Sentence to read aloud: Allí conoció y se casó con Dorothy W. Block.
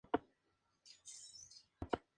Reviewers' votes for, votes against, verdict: 0, 2, rejected